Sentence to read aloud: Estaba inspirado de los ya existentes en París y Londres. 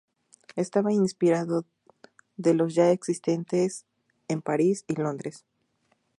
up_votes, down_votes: 2, 0